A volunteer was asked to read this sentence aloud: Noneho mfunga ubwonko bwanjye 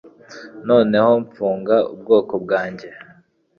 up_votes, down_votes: 3, 0